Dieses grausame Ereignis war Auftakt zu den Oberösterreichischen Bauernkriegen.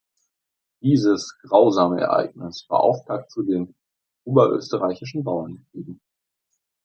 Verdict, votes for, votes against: accepted, 2, 0